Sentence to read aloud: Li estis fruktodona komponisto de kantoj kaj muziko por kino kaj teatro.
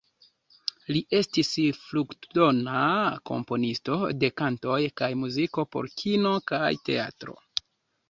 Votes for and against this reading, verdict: 1, 2, rejected